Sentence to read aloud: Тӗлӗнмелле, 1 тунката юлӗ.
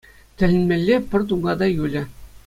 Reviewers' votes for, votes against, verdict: 0, 2, rejected